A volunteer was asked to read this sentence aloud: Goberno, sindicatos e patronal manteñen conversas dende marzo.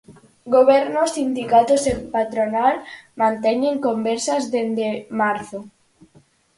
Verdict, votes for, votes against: accepted, 4, 0